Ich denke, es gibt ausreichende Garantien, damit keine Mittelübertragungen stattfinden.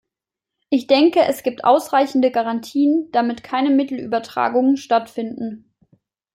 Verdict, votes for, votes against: accepted, 2, 0